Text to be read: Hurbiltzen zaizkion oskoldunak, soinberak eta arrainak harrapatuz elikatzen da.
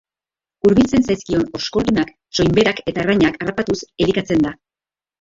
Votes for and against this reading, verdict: 0, 2, rejected